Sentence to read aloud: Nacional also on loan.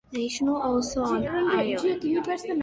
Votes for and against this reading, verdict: 0, 2, rejected